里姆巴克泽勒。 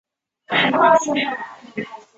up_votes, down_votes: 0, 2